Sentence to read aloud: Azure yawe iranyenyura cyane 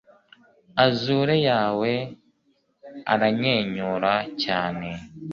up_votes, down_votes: 1, 2